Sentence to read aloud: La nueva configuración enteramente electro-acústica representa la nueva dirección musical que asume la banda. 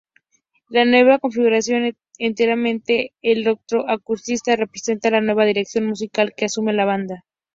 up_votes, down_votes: 2, 0